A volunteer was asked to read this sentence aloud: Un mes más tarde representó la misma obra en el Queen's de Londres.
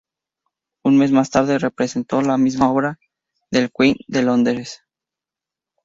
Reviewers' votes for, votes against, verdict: 0, 2, rejected